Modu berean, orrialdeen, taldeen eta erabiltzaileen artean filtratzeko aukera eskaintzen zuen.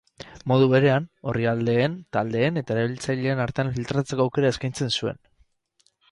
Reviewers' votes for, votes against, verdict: 6, 0, accepted